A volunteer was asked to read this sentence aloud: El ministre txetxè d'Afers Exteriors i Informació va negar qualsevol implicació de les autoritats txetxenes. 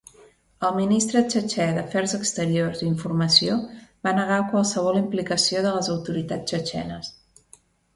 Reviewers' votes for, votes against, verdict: 2, 0, accepted